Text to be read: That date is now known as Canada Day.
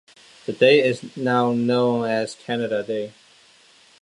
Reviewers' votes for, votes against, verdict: 0, 2, rejected